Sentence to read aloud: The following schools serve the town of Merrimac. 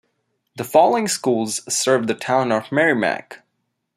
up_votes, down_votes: 2, 0